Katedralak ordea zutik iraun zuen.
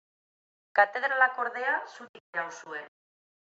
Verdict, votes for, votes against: accepted, 2, 1